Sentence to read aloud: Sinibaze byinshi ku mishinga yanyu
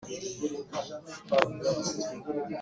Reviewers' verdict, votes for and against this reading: rejected, 0, 2